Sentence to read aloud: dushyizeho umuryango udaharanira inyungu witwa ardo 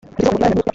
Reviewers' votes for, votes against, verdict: 0, 2, rejected